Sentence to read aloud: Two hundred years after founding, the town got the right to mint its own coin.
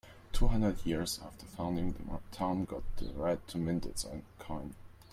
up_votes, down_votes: 1, 2